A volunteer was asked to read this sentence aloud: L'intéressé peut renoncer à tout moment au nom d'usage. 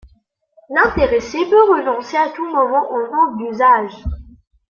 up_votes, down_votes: 2, 1